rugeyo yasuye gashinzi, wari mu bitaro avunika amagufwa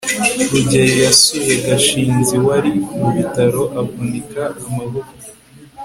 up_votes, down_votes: 2, 0